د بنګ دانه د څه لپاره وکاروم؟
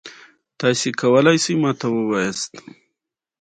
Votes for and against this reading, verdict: 1, 2, rejected